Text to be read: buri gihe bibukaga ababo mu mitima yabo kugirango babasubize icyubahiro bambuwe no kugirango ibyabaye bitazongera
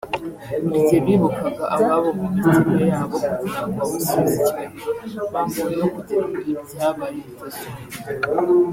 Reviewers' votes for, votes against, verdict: 1, 2, rejected